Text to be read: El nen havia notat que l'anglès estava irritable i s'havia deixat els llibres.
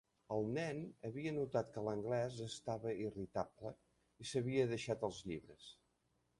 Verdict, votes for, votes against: rejected, 1, 2